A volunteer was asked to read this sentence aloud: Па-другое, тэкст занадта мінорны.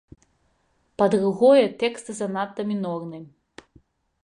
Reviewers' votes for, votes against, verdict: 2, 0, accepted